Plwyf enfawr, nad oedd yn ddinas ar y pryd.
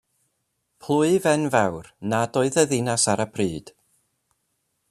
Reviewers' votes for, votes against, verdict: 1, 2, rejected